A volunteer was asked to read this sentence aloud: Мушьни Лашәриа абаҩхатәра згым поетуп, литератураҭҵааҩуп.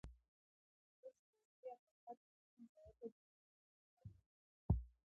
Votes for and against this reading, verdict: 0, 2, rejected